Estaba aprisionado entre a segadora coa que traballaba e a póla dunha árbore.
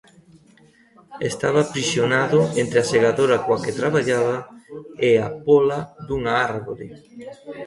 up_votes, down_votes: 1, 2